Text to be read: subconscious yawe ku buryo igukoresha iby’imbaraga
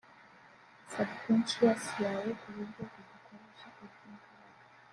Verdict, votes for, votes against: rejected, 1, 2